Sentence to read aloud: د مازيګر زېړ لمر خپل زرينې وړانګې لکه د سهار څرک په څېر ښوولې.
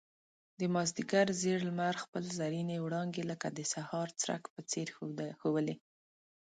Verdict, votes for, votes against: accepted, 2, 0